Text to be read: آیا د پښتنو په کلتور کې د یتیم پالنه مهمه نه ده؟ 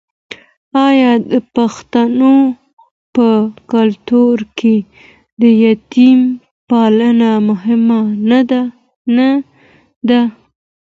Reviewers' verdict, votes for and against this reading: accepted, 2, 1